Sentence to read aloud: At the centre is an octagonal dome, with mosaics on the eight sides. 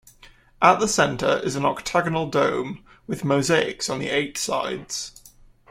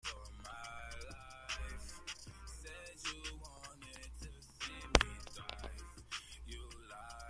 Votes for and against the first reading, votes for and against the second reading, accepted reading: 2, 0, 0, 2, first